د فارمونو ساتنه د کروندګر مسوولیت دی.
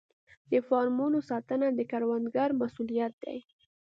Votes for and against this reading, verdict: 2, 0, accepted